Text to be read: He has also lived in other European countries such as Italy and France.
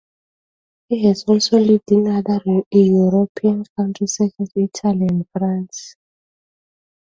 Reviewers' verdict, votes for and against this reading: rejected, 0, 2